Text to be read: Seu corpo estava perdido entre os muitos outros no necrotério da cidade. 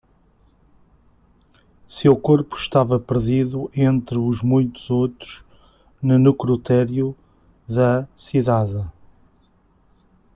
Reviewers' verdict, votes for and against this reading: accepted, 2, 0